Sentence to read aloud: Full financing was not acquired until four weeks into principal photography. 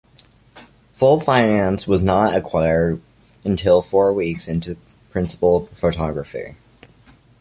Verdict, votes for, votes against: accepted, 2, 1